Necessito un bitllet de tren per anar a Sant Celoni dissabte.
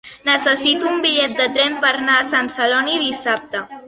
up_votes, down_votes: 2, 1